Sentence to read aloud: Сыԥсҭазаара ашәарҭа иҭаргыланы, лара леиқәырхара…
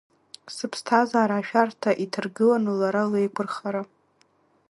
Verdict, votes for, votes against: accepted, 2, 1